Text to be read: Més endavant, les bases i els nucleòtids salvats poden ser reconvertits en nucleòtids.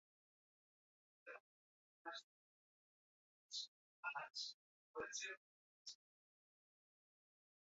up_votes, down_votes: 1, 2